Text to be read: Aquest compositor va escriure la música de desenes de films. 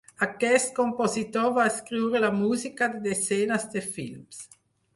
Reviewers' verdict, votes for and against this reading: rejected, 2, 4